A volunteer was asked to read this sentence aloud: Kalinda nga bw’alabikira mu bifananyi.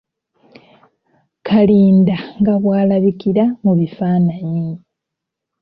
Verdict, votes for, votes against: rejected, 1, 2